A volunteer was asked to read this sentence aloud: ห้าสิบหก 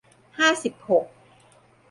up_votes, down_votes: 2, 0